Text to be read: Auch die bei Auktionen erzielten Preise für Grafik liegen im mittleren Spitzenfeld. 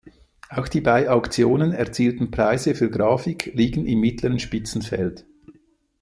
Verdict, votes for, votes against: rejected, 1, 2